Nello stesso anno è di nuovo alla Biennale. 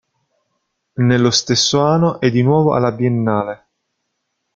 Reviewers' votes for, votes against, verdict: 0, 2, rejected